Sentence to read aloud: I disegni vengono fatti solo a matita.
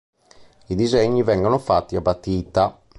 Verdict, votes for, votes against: rejected, 0, 2